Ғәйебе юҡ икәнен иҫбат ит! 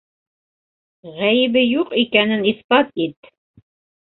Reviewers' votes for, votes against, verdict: 2, 0, accepted